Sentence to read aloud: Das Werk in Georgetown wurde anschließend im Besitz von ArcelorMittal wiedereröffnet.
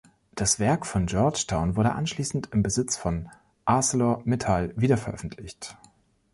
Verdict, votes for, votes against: rejected, 1, 2